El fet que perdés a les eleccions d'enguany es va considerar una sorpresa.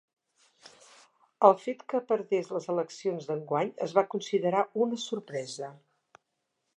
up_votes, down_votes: 0, 2